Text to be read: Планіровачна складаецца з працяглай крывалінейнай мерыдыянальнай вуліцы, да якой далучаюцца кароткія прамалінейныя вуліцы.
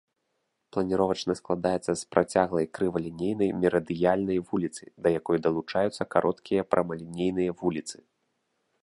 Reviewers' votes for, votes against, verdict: 1, 2, rejected